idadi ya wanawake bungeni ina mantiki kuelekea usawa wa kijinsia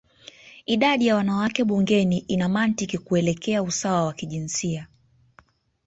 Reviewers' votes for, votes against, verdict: 1, 2, rejected